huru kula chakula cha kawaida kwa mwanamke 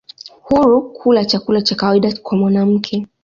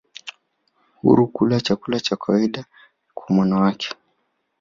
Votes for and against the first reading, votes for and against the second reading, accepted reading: 2, 0, 1, 2, first